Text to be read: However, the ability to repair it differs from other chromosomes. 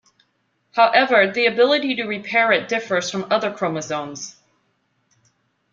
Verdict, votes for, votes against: accepted, 2, 0